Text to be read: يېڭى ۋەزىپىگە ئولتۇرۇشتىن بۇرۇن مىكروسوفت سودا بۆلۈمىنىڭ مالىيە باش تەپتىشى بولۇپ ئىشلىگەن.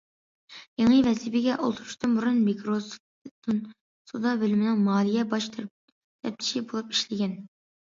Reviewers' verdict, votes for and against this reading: rejected, 0, 2